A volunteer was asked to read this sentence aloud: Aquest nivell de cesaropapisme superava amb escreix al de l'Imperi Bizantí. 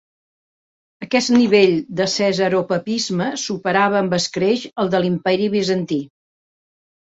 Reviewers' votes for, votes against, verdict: 2, 0, accepted